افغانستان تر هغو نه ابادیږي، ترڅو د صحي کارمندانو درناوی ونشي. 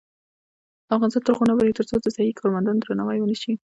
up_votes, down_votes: 0, 2